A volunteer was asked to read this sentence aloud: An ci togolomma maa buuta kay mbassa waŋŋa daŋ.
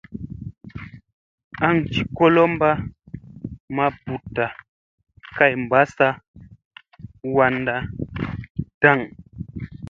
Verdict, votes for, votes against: accepted, 2, 0